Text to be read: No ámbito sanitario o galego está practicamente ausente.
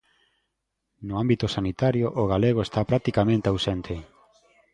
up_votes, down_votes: 2, 0